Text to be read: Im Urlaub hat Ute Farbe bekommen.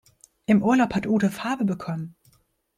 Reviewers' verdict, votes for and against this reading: accepted, 2, 0